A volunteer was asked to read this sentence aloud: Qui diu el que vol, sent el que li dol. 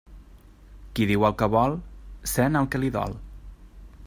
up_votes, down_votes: 0, 2